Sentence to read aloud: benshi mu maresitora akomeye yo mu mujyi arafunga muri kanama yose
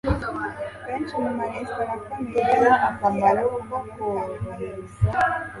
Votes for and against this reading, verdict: 0, 2, rejected